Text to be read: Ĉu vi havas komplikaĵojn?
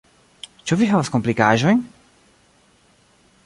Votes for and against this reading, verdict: 1, 2, rejected